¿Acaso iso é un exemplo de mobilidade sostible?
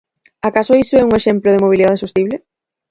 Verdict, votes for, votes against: accepted, 4, 0